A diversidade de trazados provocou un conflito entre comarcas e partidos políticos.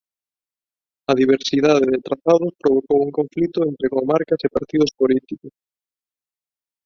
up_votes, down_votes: 1, 2